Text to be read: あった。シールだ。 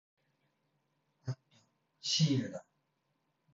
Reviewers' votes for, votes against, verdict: 1, 2, rejected